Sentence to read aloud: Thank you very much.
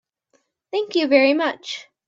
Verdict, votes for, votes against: accepted, 3, 0